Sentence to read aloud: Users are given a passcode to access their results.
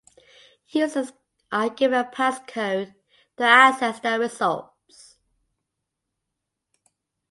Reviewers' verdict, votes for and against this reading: accepted, 2, 1